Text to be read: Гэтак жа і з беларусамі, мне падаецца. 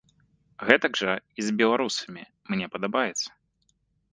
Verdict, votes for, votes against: rejected, 0, 2